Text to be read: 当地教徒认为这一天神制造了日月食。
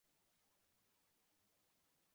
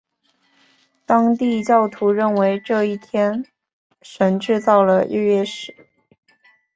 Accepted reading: second